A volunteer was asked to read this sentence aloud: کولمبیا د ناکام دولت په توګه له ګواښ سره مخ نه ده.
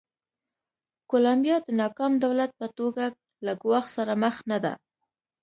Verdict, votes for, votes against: accepted, 2, 0